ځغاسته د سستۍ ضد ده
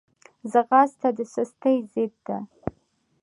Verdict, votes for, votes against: accepted, 2, 0